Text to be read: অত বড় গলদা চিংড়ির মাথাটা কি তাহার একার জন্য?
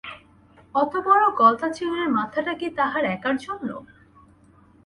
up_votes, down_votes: 2, 0